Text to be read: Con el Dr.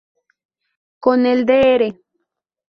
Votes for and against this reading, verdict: 0, 2, rejected